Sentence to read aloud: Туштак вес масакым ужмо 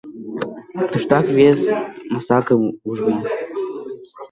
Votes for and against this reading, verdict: 1, 2, rejected